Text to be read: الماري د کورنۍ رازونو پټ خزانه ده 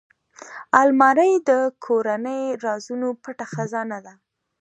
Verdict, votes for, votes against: accepted, 2, 1